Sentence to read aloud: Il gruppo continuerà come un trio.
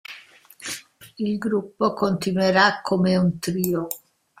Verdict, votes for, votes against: accepted, 2, 0